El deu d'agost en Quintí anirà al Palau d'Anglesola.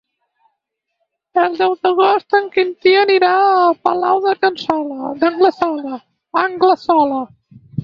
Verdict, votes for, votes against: rejected, 2, 4